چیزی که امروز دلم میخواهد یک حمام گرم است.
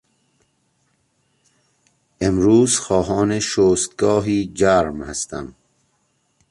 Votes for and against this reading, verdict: 0, 2, rejected